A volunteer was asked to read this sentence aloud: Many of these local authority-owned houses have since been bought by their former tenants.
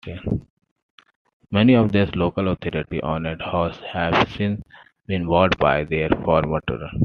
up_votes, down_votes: 2, 1